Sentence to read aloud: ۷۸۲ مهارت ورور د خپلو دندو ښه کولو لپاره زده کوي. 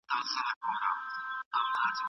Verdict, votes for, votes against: rejected, 0, 2